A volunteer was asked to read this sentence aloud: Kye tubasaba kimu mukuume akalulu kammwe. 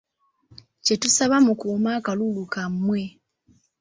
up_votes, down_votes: 0, 2